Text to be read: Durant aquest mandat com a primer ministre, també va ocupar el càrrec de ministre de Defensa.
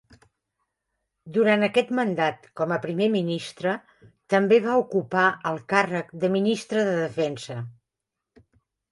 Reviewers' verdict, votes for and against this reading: accepted, 3, 0